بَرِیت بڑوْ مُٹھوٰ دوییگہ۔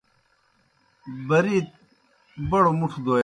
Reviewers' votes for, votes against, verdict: 0, 2, rejected